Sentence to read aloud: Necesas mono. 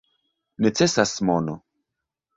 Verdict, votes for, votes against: accepted, 2, 0